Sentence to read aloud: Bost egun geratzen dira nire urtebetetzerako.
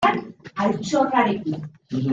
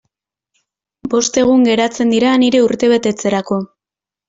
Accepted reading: second